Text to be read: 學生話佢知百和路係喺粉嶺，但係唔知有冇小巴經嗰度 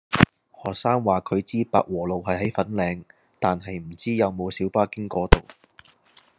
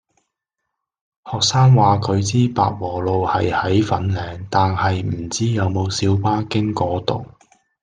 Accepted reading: second